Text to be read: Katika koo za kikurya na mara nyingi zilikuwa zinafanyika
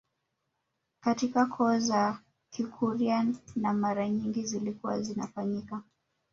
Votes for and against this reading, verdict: 0, 2, rejected